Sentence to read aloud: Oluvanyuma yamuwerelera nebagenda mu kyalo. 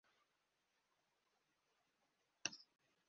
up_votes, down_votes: 0, 2